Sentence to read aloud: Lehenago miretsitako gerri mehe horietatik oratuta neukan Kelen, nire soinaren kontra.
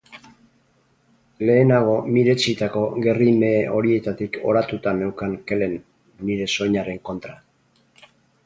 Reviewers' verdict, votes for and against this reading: rejected, 0, 2